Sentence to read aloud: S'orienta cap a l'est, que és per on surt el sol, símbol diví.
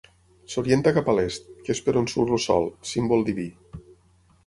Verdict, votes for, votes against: accepted, 6, 0